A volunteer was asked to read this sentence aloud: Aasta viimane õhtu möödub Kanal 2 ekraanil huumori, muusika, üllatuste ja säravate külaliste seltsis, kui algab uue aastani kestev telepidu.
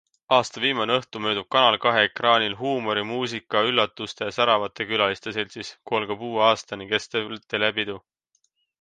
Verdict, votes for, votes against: rejected, 0, 2